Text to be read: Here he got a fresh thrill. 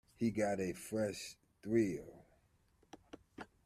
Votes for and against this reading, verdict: 1, 2, rejected